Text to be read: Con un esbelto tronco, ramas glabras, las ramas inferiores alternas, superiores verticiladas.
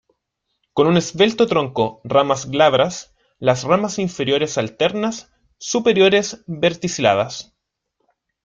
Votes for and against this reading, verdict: 2, 1, accepted